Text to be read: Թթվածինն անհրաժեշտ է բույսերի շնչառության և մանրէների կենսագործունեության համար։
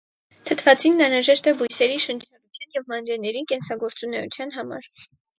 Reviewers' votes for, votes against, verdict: 2, 2, rejected